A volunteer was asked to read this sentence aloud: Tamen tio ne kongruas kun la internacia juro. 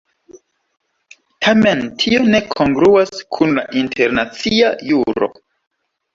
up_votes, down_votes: 2, 1